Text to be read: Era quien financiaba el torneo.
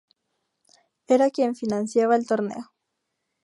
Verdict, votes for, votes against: accepted, 2, 0